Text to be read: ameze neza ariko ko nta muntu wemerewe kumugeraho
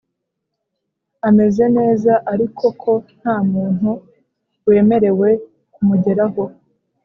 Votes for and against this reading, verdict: 3, 0, accepted